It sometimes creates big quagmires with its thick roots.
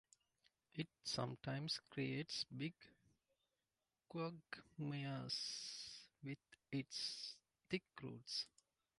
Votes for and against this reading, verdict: 1, 2, rejected